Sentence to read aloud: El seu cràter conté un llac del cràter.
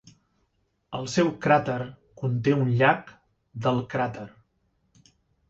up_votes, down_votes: 3, 0